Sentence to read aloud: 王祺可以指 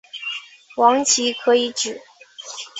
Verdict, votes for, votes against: rejected, 1, 2